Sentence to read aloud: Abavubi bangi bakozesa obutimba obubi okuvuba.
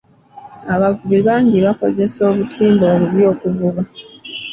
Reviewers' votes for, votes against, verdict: 2, 0, accepted